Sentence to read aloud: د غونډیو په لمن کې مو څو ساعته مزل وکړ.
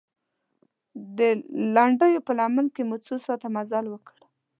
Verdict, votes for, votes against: rejected, 1, 2